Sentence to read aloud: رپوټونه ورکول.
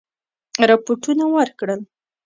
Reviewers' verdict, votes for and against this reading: rejected, 1, 2